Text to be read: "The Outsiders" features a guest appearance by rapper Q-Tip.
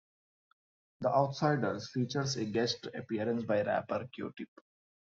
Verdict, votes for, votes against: accepted, 2, 0